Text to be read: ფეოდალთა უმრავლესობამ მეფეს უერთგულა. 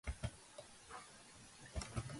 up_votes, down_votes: 0, 2